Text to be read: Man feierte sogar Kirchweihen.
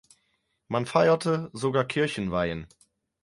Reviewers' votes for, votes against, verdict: 0, 4, rejected